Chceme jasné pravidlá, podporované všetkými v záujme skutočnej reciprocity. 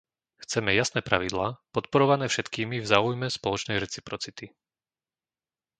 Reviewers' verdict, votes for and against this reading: rejected, 1, 2